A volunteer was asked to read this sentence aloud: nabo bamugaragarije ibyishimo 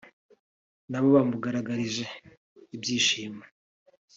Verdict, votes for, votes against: accepted, 2, 0